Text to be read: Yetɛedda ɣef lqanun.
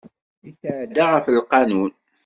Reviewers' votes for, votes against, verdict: 1, 2, rejected